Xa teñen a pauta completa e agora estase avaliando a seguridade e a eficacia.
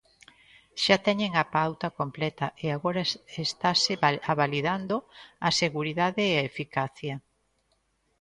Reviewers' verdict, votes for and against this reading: rejected, 0, 2